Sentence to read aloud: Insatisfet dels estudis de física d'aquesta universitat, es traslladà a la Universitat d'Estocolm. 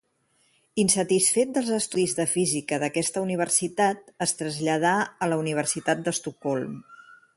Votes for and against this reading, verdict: 6, 0, accepted